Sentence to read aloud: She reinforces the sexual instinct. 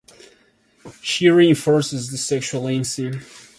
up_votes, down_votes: 0, 2